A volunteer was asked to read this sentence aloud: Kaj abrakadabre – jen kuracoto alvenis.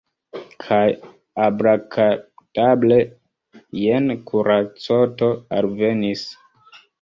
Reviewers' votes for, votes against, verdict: 0, 2, rejected